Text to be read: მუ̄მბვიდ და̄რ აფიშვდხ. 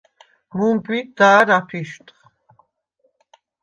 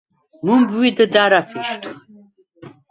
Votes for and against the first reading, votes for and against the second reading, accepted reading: 2, 0, 2, 4, first